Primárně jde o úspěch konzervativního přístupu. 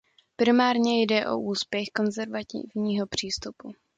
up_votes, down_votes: 1, 2